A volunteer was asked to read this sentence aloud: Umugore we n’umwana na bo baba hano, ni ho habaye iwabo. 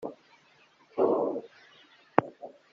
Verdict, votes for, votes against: rejected, 0, 2